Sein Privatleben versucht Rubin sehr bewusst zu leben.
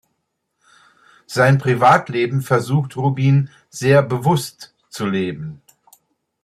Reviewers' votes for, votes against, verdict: 2, 0, accepted